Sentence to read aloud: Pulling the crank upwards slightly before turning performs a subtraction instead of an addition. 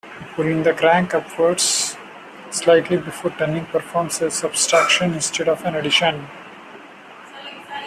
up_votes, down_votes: 0, 2